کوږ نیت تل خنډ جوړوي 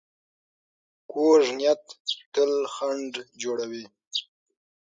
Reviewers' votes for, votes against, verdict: 6, 0, accepted